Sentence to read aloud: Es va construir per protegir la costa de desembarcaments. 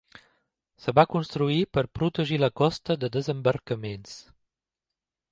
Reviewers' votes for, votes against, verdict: 0, 2, rejected